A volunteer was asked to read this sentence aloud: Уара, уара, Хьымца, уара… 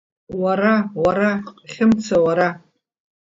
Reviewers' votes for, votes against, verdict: 2, 0, accepted